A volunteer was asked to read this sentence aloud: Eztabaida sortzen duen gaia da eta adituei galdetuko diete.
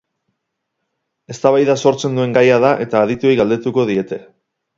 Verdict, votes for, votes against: rejected, 2, 2